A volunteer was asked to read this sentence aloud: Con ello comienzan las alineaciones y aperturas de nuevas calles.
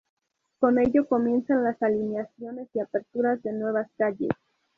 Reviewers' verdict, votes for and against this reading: accepted, 2, 0